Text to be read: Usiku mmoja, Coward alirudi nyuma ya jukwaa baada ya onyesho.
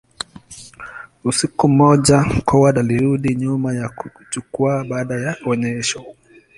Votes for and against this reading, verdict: 2, 0, accepted